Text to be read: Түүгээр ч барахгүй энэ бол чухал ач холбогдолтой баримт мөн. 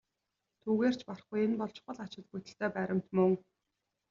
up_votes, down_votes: 1, 2